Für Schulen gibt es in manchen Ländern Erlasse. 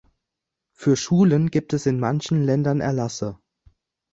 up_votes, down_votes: 2, 0